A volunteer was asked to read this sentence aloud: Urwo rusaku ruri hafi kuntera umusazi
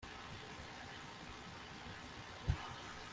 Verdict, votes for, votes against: rejected, 0, 3